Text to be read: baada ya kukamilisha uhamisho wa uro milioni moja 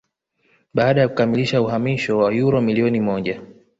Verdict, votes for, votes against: accepted, 2, 1